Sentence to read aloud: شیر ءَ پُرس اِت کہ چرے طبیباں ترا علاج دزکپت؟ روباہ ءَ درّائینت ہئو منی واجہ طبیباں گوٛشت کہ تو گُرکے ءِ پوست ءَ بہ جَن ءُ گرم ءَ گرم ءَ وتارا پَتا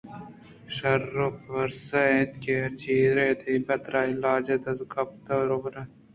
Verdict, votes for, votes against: rejected, 1, 2